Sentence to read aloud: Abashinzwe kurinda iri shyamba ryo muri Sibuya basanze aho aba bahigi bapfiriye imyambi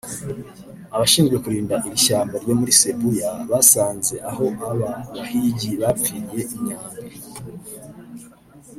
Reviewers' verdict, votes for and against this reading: rejected, 0, 2